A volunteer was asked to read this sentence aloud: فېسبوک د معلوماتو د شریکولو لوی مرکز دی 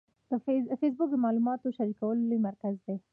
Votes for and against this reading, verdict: 1, 2, rejected